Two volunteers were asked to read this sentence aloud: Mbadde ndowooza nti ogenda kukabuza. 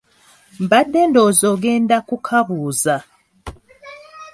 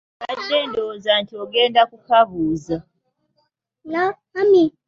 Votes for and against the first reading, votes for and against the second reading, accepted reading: 2, 1, 0, 3, first